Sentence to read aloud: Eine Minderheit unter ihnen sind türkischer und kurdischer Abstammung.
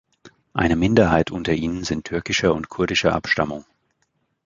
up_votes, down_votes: 3, 0